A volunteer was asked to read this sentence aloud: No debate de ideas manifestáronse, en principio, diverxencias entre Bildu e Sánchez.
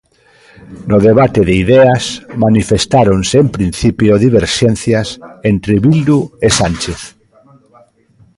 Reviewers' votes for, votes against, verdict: 0, 2, rejected